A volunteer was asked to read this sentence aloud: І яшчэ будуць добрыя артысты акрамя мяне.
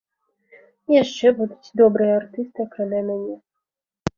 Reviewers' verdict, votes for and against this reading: accepted, 2, 0